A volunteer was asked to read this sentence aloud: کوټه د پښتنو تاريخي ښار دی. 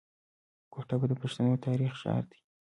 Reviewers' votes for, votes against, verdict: 1, 2, rejected